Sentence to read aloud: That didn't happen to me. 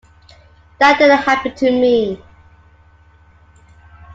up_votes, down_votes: 2, 1